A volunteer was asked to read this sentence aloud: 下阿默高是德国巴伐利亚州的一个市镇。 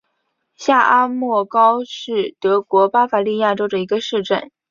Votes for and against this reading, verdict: 2, 0, accepted